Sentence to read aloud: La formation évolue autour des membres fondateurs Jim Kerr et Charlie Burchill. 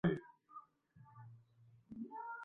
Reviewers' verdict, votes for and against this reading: rejected, 0, 2